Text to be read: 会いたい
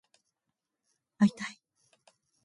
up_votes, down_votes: 2, 0